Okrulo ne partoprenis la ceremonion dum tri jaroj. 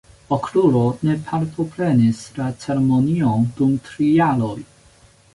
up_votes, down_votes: 1, 2